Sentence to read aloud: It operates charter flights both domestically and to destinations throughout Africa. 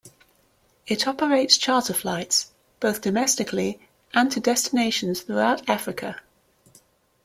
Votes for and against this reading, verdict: 2, 0, accepted